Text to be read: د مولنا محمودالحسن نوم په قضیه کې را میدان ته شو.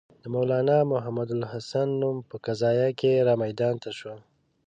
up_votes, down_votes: 1, 2